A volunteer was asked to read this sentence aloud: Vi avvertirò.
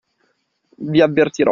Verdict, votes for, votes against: accepted, 2, 1